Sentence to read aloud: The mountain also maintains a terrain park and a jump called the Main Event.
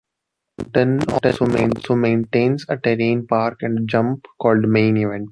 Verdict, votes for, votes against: rejected, 0, 2